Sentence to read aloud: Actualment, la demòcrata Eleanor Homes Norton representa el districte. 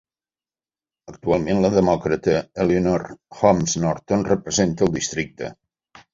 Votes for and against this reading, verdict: 1, 2, rejected